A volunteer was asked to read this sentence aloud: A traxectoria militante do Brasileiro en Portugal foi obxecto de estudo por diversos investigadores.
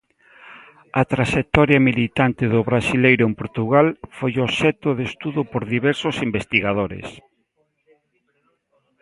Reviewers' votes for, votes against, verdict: 1, 2, rejected